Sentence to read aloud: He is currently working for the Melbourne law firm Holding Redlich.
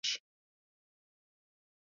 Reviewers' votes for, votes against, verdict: 0, 2, rejected